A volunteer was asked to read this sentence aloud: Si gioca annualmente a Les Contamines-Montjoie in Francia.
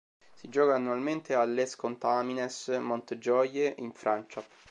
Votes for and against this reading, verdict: 1, 2, rejected